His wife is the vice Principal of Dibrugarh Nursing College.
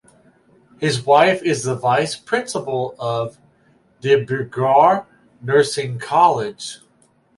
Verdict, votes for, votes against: accepted, 4, 2